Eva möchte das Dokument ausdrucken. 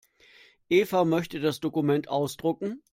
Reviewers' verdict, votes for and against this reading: accepted, 2, 0